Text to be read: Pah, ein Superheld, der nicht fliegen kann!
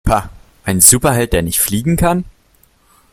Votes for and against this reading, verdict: 2, 0, accepted